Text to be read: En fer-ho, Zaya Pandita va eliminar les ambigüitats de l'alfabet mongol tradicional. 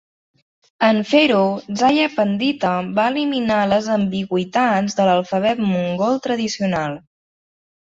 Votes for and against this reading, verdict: 3, 0, accepted